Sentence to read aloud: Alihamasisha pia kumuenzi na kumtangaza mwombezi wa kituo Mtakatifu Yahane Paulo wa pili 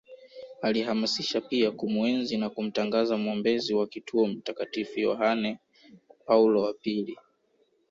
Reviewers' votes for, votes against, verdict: 3, 0, accepted